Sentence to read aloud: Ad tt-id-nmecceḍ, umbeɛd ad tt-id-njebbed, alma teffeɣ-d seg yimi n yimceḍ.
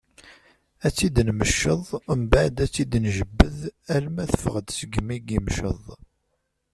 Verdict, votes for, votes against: rejected, 1, 2